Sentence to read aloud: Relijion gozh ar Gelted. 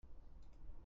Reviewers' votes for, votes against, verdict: 0, 2, rejected